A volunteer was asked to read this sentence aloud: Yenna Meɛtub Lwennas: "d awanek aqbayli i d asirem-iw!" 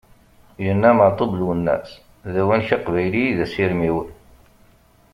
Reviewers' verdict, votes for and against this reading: accepted, 2, 0